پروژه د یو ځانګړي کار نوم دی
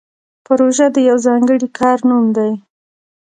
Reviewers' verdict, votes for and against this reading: rejected, 0, 2